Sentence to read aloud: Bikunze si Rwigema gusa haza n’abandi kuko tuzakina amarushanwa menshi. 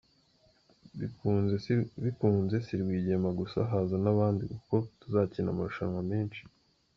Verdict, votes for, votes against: rejected, 0, 2